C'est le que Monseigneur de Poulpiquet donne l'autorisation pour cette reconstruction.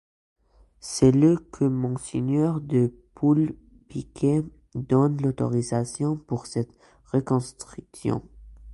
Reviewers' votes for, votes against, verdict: 2, 0, accepted